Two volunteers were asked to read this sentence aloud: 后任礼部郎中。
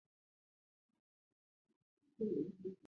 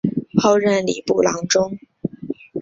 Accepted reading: second